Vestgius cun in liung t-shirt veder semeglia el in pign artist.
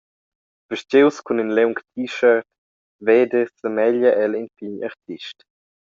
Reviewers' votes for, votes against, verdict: 2, 0, accepted